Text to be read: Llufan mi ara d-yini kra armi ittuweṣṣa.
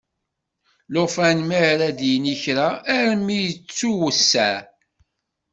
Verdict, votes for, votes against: rejected, 1, 2